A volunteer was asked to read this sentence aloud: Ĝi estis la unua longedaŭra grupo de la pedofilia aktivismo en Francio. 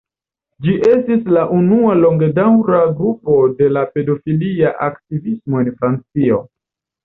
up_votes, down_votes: 2, 0